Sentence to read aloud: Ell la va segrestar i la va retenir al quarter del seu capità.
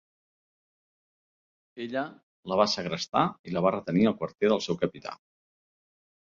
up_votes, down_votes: 0, 2